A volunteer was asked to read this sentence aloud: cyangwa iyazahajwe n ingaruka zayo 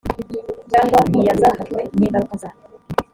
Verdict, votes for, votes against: rejected, 1, 2